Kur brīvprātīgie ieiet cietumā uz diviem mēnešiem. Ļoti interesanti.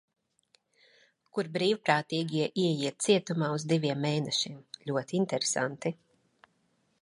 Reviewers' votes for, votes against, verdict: 2, 0, accepted